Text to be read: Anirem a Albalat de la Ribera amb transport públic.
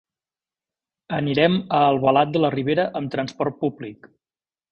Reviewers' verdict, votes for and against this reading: accepted, 2, 0